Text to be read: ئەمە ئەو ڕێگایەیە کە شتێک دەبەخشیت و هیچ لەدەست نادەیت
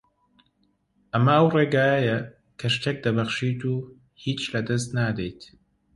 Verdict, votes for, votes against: accepted, 2, 0